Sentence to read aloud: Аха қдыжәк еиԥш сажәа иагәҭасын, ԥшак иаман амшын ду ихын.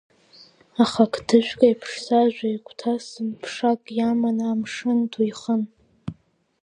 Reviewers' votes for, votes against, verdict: 2, 0, accepted